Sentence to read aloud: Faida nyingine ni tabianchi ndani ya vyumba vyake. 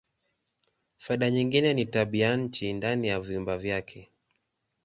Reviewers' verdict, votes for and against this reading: accepted, 2, 1